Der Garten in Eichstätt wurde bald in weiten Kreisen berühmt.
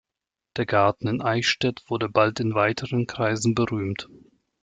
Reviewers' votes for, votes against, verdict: 1, 2, rejected